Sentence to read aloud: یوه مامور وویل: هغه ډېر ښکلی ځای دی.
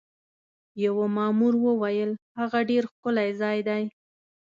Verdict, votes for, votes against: accepted, 2, 0